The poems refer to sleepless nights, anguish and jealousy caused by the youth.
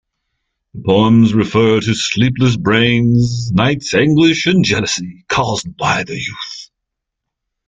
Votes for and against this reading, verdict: 0, 2, rejected